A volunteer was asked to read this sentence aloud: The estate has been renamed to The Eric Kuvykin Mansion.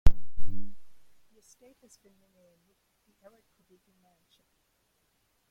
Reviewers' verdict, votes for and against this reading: rejected, 0, 2